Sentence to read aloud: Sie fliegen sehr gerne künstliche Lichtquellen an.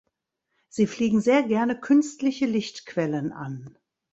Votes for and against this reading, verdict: 2, 0, accepted